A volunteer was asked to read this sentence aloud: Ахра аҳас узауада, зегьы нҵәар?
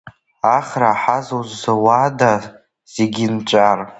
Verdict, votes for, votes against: rejected, 1, 2